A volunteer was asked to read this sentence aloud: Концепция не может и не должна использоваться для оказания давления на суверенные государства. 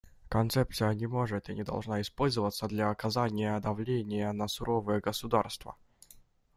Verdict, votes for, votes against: rejected, 0, 2